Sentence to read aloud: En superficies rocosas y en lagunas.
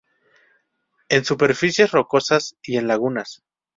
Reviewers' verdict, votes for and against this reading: accepted, 2, 0